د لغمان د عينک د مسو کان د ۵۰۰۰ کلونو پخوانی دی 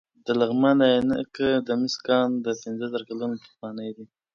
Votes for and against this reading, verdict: 0, 2, rejected